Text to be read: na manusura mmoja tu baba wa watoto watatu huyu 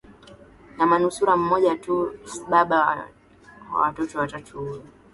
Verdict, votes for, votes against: rejected, 0, 2